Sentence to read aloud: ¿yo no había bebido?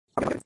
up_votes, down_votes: 0, 2